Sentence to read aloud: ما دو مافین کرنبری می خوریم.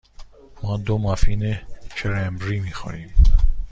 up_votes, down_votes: 2, 0